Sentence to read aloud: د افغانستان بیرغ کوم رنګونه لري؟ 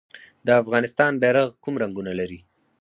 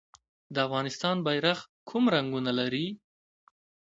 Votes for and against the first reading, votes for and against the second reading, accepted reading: 2, 4, 2, 0, second